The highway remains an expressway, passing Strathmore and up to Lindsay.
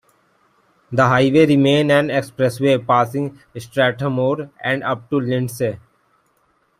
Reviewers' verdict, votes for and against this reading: rejected, 0, 2